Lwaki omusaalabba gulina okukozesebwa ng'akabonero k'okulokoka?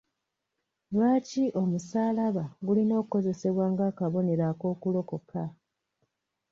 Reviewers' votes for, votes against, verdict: 2, 0, accepted